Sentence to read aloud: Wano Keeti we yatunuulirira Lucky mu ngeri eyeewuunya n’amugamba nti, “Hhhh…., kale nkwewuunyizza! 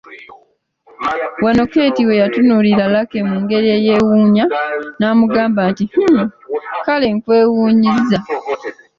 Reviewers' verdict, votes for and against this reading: accepted, 2, 1